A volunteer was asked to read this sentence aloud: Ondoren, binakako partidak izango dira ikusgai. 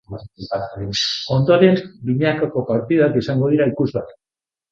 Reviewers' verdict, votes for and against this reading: rejected, 1, 3